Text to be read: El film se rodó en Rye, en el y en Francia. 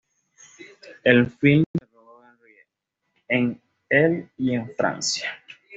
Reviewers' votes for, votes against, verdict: 1, 2, rejected